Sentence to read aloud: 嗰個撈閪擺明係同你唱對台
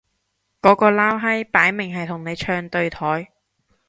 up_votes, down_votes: 2, 0